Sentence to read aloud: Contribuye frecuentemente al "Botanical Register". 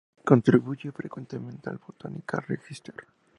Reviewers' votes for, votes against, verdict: 2, 0, accepted